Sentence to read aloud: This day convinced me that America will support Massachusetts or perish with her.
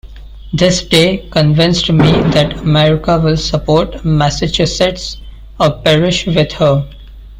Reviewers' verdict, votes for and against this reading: rejected, 0, 2